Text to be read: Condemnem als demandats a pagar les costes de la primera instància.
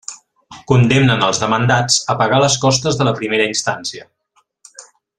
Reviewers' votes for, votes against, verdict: 0, 2, rejected